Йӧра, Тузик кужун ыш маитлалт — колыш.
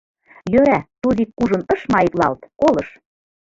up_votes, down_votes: 2, 1